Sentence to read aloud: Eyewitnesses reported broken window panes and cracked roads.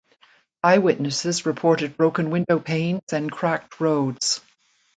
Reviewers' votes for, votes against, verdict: 2, 0, accepted